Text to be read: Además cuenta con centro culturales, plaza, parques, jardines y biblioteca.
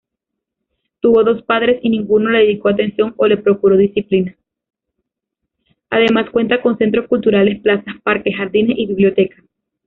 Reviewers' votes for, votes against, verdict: 0, 3, rejected